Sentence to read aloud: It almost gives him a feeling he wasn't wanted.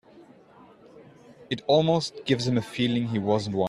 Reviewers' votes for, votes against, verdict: 0, 2, rejected